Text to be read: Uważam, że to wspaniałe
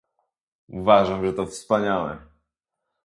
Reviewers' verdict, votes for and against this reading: accepted, 2, 0